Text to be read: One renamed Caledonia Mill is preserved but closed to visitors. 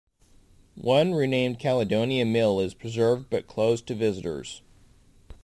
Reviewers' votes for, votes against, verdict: 2, 0, accepted